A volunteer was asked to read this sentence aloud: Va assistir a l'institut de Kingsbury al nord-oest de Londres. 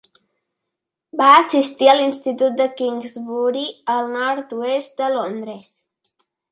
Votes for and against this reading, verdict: 2, 0, accepted